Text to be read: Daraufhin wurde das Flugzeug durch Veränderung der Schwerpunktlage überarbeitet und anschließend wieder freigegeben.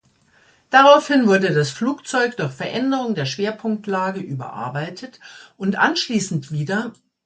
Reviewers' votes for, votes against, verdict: 1, 2, rejected